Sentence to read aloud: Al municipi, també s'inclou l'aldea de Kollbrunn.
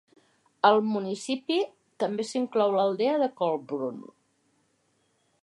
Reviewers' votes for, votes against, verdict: 2, 0, accepted